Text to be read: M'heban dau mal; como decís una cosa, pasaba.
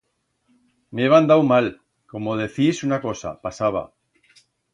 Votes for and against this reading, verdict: 1, 2, rejected